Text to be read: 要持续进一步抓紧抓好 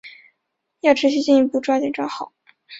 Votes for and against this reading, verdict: 2, 0, accepted